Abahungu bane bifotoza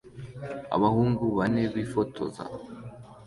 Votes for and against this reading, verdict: 2, 0, accepted